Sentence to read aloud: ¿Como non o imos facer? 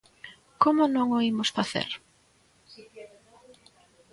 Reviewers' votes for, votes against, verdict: 2, 0, accepted